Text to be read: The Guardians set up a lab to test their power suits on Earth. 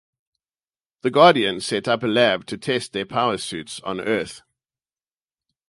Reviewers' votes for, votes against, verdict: 4, 0, accepted